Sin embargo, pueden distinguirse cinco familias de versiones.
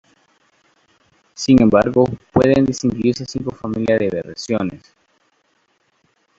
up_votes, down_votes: 1, 2